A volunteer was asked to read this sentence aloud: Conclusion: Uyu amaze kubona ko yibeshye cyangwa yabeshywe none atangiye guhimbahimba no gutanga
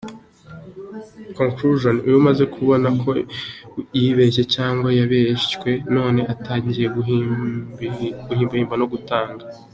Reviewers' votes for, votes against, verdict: 2, 0, accepted